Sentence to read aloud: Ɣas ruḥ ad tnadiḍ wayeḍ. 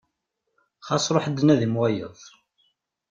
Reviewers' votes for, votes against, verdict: 1, 2, rejected